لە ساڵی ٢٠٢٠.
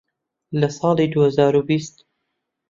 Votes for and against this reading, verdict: 0, 2, rejected